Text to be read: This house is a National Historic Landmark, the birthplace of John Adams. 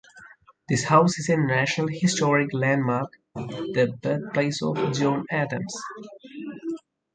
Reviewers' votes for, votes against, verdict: 4, 0, accepted